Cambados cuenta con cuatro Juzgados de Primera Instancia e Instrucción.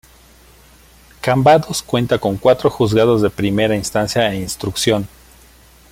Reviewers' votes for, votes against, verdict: 2, 0, accepted